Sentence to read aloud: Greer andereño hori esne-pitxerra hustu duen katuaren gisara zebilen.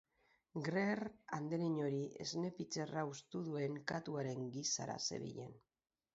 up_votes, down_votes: 0, 4